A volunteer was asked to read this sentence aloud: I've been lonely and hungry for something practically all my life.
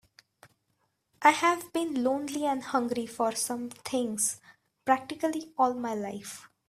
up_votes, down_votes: 0, 2